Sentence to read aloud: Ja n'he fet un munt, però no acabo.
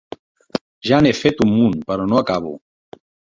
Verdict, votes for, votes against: accepted, 3, 0